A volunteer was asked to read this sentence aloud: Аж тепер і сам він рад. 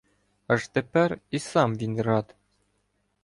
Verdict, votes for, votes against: accepted, 2, 0